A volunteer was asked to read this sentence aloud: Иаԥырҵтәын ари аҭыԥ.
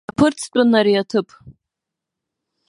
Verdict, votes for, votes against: rejected, 0, 2